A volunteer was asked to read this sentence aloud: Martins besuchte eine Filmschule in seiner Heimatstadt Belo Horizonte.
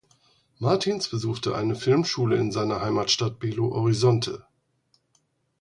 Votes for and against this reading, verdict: 4, 0, accepted